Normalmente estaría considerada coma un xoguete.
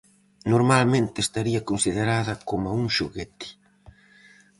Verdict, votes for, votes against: accepted, 4, 0